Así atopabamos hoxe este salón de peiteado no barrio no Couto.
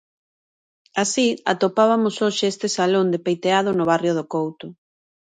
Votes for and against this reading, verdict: 0, 2, rejected